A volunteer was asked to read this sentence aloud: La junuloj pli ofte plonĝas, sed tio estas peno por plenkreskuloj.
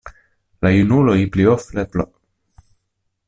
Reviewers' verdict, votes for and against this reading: rejected, 0, 2